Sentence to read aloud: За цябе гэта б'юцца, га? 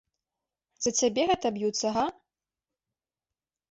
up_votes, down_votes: 2, 0